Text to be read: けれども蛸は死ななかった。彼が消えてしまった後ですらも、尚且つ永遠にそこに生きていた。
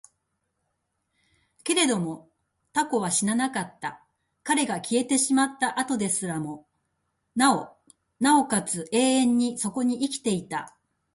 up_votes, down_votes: 1, 2